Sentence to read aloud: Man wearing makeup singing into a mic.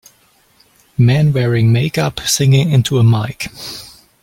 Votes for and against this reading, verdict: 2, 0, accepted